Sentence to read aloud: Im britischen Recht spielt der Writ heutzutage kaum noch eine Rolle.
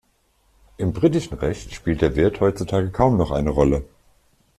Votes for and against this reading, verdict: 1, 2, rejected